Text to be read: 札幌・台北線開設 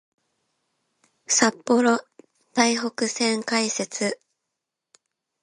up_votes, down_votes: 2, 0